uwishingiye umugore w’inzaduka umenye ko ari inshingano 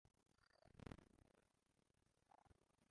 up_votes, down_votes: 0, 2